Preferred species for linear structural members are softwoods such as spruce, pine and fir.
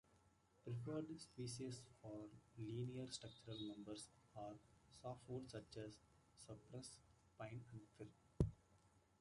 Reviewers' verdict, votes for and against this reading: rejected, 1, 2